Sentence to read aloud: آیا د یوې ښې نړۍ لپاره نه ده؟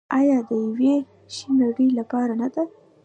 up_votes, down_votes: 2, 0